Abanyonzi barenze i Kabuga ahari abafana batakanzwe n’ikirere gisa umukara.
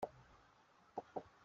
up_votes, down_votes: 0, 2